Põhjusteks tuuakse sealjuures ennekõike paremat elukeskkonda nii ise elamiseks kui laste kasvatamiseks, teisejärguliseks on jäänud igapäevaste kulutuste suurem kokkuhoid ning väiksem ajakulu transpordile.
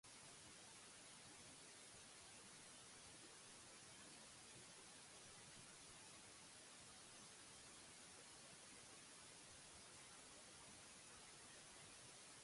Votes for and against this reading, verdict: 0, 2, rejected